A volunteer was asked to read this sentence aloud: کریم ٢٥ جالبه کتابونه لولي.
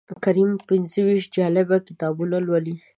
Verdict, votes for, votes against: rejected, 0, 2